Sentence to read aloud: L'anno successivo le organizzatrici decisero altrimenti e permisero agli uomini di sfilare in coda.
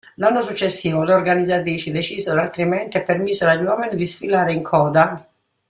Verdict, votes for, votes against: rejected, 1, 2